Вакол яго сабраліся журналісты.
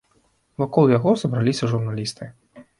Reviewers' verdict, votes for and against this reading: accepted, 2, 0